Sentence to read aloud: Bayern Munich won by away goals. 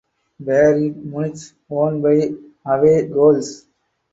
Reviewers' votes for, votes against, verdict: 4, 0, accepted